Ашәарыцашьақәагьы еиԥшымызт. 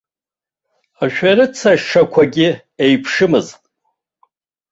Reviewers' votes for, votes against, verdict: 1, 2, rejected